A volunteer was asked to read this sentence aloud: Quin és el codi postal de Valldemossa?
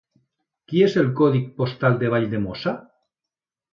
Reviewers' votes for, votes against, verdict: 0, 3, rejected